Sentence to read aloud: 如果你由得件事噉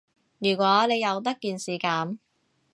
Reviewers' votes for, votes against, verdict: 2, 0, accepted